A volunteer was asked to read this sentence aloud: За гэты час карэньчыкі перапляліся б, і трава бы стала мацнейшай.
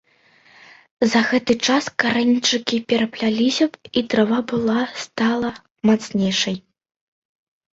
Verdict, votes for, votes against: rejected, 0, 2